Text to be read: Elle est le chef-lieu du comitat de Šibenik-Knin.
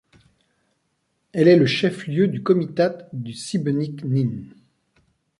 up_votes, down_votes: 0, 2